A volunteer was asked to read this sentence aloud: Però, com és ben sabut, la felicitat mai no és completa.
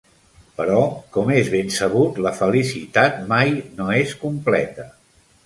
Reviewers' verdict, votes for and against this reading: accepted, 3, 0